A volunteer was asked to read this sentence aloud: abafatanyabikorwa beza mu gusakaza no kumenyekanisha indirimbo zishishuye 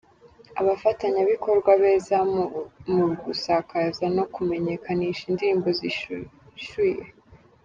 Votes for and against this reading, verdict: 1, 2, rejected